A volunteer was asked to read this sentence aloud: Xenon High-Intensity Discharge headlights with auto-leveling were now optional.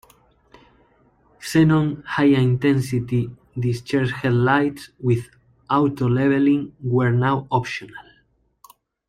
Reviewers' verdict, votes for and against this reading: accepted, 2, 1